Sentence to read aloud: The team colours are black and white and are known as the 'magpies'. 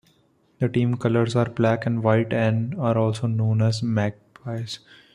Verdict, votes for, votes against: accepted, 2, 1